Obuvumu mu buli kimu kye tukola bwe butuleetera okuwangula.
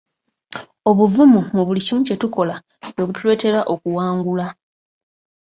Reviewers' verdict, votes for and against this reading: accepted, 2, 0